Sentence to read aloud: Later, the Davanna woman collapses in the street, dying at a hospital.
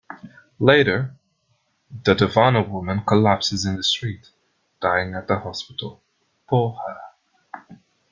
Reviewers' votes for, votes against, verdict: 1, 2, rejected